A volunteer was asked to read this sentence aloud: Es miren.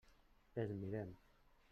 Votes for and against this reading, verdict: 0, 2, rejected